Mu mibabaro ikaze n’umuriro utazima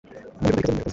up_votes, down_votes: 0, 2